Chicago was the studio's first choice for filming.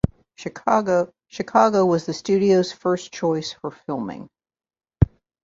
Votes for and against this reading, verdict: 0, 2, rejected